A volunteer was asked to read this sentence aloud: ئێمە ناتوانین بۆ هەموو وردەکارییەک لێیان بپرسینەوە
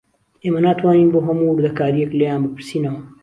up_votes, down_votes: 2, 0